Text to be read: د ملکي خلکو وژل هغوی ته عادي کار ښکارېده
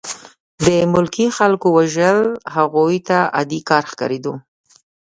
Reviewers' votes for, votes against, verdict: 2, 0, accepted